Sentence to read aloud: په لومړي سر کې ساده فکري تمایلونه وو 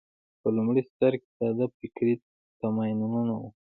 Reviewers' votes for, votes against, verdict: 2, 0, accepted